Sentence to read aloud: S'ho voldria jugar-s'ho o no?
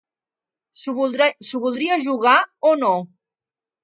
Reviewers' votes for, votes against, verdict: 0, 2, rejected